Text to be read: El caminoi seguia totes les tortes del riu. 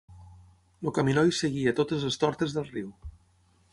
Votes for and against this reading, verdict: 6, 0, accepted